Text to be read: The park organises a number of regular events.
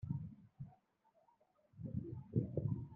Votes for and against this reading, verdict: 0, 2, rejected